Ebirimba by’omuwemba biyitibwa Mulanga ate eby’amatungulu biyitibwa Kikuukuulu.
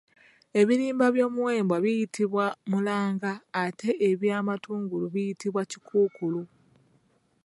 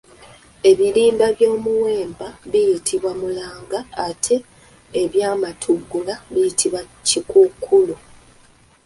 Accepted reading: first